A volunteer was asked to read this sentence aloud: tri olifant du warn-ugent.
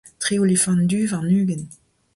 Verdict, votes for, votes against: accepted, 2, 0